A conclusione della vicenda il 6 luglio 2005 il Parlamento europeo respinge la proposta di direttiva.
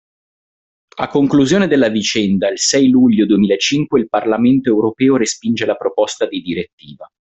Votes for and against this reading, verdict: 0, 2, rejected